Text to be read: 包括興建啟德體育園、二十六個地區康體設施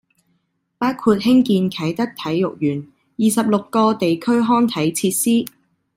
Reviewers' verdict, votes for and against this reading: accepted, 2, 0